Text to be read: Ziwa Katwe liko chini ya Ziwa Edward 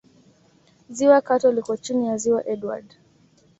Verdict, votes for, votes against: accepted, 2, 0